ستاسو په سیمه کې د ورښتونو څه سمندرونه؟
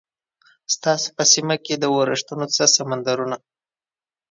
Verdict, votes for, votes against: accepted, 2, 0